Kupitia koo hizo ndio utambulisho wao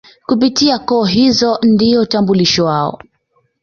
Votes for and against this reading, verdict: 2, 0, accepted